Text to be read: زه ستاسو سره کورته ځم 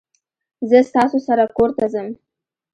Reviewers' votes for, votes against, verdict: 2, 1, accepted